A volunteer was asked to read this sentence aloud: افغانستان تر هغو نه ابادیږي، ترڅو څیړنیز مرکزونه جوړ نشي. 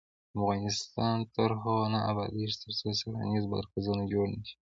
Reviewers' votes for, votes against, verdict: 2, 0, accepted